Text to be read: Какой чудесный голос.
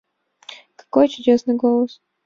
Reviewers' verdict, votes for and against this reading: accepted, 2, 0